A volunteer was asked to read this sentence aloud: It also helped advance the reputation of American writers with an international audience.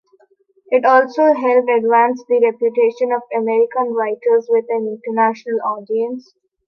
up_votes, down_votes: 2, 0